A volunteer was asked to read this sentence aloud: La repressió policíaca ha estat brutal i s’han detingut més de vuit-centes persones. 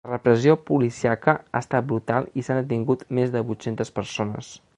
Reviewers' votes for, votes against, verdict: 0, 2, rejected